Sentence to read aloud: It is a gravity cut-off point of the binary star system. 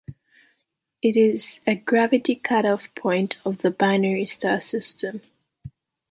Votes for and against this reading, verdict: 2, 0, accepted